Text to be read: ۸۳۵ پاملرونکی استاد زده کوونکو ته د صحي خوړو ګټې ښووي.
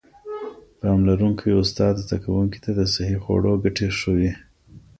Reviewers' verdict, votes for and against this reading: rejected, 0, 2